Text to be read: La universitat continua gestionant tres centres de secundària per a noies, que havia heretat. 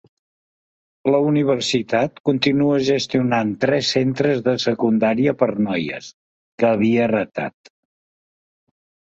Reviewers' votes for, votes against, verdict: 1, 2, rejected